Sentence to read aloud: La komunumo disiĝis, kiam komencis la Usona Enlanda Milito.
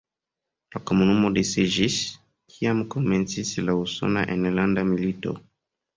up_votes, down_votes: 0, 2